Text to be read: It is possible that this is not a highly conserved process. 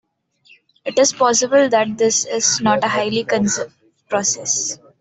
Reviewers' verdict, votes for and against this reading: rejected, 1, 2